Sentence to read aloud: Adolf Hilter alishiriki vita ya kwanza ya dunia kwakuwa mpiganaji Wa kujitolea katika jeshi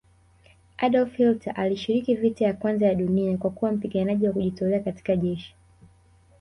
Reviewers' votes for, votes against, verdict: 2, 0, accepted